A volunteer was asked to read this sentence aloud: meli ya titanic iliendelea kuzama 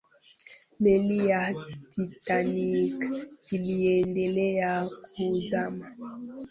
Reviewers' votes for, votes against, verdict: 2, 3, rejected